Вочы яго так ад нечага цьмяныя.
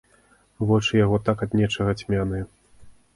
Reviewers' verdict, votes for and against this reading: accepted, 2, 0